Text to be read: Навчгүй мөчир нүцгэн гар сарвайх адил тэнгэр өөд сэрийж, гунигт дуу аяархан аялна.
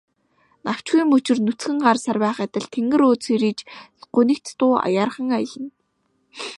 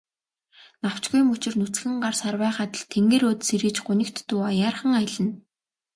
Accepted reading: second